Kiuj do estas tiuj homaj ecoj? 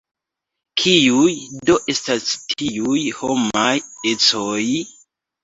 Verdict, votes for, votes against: rejected, 1, 2